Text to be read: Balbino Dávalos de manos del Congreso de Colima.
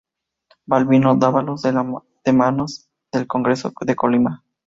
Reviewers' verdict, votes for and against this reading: rejected, 0, 2